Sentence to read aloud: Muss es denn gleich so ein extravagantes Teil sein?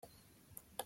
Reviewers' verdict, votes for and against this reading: rejected, 0, 2